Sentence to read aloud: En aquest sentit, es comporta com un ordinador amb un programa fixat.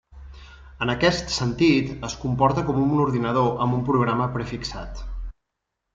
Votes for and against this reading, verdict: 1, 2, rejected